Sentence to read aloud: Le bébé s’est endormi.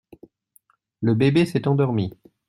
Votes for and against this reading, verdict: 2, 0, accepted